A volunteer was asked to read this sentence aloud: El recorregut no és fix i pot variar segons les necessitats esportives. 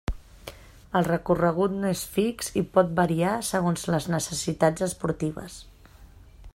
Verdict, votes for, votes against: accepted, 3, 0